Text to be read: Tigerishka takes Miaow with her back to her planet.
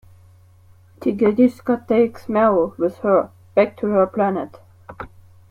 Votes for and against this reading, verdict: 2, 1, accepted